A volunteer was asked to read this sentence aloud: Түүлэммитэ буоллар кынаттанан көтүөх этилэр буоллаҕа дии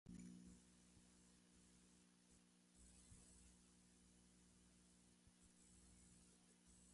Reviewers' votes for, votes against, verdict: 0, 2, rejected